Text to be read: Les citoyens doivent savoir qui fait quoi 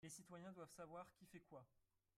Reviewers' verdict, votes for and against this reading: rejected, 0, 3